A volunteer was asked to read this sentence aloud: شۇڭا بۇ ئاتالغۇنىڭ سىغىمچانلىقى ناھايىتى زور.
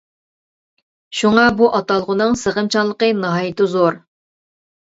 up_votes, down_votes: 2, 0